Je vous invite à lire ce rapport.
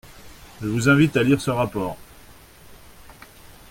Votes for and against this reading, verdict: 2, 0, accepted